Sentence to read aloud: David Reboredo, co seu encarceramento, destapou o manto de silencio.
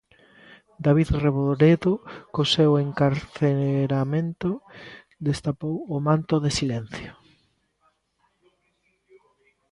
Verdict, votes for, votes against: rejected, 0, 2